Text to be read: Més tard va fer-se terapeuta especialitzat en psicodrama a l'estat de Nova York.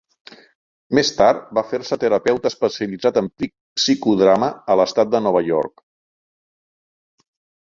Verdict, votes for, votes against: rejected, 0, 2